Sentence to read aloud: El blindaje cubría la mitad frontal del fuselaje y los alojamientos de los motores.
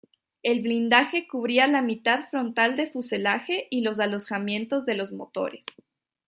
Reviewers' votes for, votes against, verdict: 1, 2, rejected